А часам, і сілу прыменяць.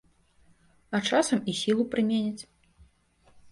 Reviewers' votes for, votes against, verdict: 2, 0, accepted